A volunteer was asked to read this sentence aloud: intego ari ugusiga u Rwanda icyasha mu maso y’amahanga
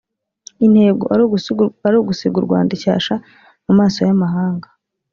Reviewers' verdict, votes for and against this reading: rejected, 0, 2